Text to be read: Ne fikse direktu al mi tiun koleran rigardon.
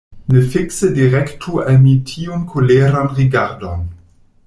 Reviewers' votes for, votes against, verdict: 2, 0, accepted